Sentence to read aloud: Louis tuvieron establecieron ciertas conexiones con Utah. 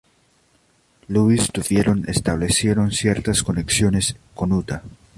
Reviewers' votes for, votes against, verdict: 0, 2, rejected